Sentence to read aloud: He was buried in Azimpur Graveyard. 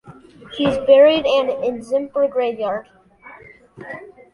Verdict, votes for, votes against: accepted, 2, 0